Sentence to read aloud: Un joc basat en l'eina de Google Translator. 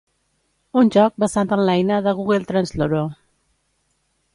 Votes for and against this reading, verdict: 0, 2, rejected